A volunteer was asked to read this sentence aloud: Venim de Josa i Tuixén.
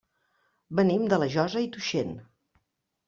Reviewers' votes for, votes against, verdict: 0, 2, rejected